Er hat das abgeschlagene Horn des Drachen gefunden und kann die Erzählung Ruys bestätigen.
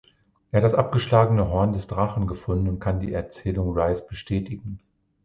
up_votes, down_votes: 2, 0